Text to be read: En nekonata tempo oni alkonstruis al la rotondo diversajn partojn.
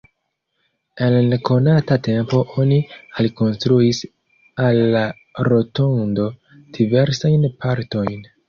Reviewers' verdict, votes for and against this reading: accepted, 2, 0